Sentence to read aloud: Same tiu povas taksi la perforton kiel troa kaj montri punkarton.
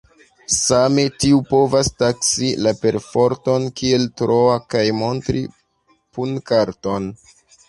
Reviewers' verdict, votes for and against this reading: accepted, 2, 0